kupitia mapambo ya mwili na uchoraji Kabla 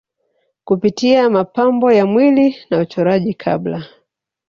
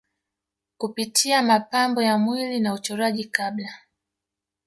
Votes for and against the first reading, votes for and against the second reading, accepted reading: 4, 0, 0, 2, first